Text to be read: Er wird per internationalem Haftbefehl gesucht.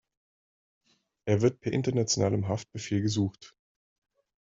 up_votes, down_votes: 3, 0